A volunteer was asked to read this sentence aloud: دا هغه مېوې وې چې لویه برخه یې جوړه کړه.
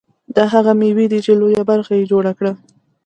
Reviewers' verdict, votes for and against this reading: accepted, 2, 0